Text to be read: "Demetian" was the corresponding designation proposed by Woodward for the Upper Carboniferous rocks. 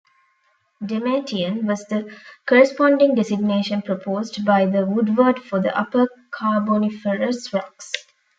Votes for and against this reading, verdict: 0, 2, rejected